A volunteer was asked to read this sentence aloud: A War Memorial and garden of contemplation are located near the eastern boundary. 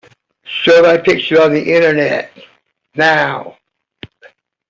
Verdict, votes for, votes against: rejected, 0, 2